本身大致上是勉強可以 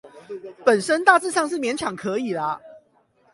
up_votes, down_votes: 0, 8